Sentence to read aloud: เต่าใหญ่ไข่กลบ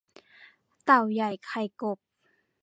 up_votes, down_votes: 1, 2